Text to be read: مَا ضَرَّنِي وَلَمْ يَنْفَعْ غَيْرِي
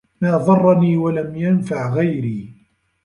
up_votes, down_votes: 2, 0